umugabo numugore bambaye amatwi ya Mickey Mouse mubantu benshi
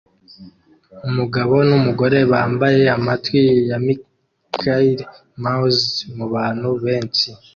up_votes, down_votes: 2, 0